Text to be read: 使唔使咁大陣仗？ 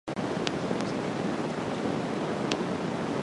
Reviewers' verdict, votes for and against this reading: rejected, 0, 2